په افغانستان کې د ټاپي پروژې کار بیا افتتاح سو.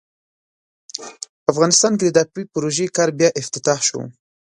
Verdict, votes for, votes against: rejected, 1, 2